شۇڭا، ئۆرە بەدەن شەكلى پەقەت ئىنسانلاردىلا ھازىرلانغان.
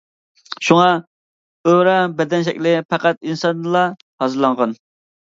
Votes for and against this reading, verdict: 0, 2, rejected